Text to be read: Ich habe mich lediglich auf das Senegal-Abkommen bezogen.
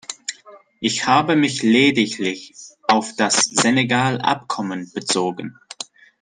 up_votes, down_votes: 2, 0